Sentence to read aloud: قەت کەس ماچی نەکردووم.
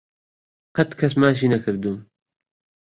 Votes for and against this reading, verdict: 2, 0, accepted